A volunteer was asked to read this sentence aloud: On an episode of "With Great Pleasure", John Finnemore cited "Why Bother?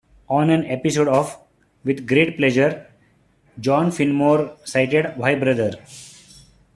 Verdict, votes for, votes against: rejected, 0, 2